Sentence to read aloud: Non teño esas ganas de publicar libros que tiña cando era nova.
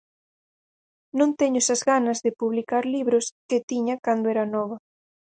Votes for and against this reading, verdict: 4, 0, accepted